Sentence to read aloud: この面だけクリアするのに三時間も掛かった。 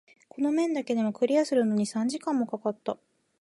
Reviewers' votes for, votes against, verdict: 1, 2, rejected